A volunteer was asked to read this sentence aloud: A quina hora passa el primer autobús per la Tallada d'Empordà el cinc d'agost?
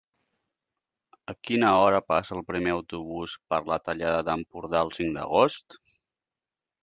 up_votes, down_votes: 4, 0